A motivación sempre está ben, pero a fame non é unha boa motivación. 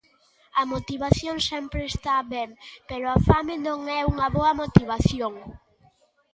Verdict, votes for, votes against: accepted, 2, 0